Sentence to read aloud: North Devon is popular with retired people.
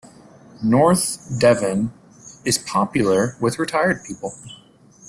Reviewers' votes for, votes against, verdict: 2, 1, accepted